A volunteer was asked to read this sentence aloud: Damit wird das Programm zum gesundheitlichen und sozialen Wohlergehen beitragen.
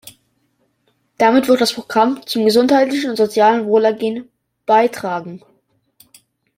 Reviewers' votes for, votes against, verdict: 2, 0, accepted